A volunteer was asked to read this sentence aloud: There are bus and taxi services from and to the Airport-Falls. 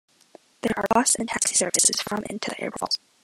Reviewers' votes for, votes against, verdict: 1, 3, rejected